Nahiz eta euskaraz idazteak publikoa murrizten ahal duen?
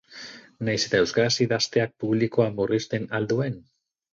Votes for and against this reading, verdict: 4, 0, accepted